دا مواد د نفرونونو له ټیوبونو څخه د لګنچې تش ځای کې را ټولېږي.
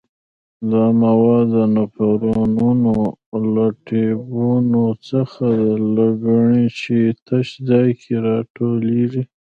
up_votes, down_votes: 1, 2